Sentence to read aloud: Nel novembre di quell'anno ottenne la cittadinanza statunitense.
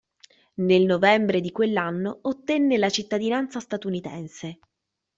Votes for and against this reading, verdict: 2, 0, accepted